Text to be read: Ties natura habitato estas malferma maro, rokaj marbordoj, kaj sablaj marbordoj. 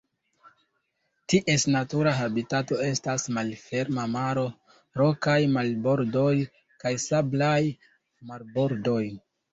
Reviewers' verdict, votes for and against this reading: accepted, 2, 0